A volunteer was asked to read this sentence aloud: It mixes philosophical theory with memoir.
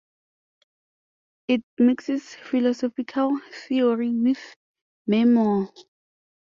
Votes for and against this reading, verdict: 1, 2, rejected